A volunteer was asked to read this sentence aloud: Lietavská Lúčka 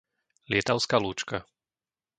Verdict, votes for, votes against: accepted, 2, 0